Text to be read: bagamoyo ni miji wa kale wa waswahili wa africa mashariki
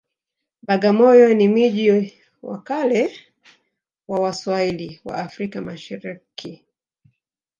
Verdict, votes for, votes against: rejected, 1, 2